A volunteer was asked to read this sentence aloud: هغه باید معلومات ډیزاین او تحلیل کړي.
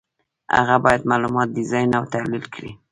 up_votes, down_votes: 2, 1